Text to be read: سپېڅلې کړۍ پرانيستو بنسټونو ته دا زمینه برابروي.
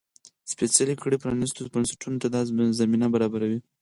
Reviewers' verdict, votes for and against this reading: accepted, 4, 2